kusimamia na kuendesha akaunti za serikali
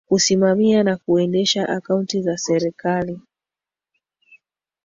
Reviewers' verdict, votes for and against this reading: accepted, 2, 1